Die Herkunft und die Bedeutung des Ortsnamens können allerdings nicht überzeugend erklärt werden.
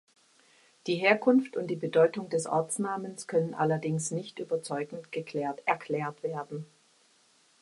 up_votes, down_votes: 0, 2